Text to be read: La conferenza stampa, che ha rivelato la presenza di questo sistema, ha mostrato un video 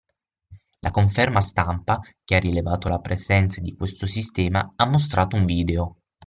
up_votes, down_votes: 0, 6